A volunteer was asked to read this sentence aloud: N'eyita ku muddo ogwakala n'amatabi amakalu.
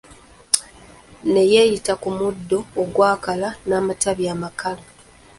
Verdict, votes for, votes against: rejected, 1, 2